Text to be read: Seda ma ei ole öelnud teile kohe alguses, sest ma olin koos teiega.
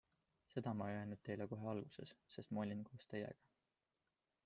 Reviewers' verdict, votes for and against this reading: accepted, 2, 0